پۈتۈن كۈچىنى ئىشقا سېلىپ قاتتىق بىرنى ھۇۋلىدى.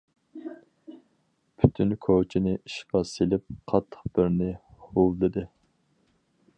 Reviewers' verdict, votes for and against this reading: rejected, 2, 2